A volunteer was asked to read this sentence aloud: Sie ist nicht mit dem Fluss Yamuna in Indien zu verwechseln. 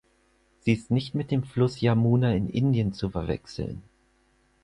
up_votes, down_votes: 4, 2